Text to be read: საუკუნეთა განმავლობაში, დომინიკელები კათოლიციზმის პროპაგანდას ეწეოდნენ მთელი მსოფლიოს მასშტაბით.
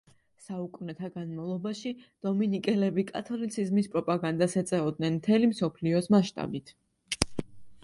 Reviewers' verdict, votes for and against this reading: accepted, 2, 0